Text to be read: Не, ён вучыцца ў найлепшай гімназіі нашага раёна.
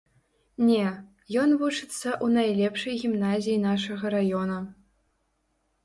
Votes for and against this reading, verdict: 2, 0, accepted